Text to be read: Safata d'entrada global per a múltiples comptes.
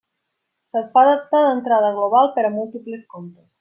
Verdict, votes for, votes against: rejected, 0, 2